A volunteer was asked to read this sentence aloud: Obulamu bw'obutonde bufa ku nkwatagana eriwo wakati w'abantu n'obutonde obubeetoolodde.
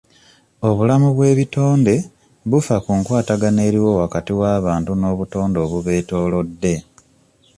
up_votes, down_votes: 1, 2